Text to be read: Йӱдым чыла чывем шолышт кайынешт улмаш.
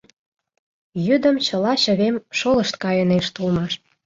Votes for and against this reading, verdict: 2, 0, accepted